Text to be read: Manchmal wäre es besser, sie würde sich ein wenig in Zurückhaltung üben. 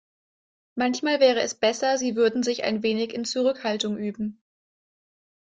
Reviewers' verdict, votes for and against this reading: accepted, 2, 0